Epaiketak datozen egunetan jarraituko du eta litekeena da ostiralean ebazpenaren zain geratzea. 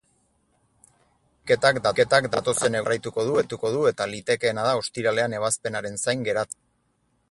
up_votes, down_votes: 0, 2